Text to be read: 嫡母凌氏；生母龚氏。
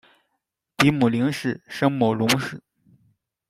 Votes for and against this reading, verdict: 0, 2, rejected